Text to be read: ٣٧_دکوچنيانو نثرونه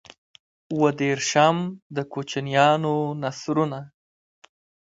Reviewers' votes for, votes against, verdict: 0, 2, rejected